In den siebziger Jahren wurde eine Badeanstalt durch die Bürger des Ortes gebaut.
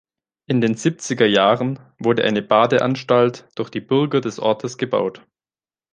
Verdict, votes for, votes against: accepted, 3, 0